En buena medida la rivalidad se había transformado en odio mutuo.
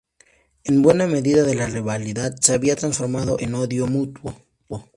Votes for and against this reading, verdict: 0, 2, rejected